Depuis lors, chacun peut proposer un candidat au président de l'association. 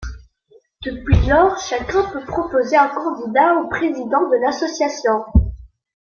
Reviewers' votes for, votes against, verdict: 0, 2, rejected